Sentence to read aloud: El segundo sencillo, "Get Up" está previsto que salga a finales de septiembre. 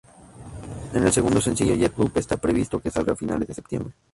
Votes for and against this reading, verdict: 0, 2, rejected